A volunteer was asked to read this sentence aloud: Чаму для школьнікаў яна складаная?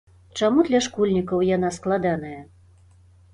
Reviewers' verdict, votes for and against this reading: accepted, 2, 0